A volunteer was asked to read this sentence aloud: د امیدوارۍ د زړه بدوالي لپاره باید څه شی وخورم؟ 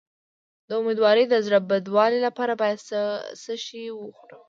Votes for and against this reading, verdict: 0, 2, rejected